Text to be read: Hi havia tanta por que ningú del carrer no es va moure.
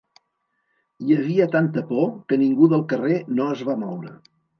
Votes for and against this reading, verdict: 3, 0, accepted